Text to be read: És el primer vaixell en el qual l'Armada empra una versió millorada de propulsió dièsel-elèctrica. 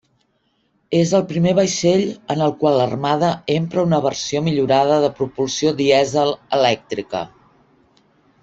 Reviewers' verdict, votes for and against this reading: accepted, 2, 0